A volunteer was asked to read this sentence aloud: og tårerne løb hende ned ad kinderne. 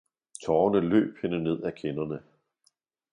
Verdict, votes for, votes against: rejected, 0, 2